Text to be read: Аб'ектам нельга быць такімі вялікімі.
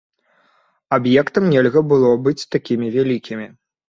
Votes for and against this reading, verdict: 0, 2, rejected